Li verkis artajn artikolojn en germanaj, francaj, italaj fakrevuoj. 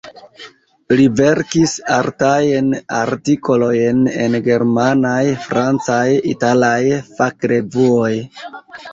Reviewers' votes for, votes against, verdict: 1, 2, rejected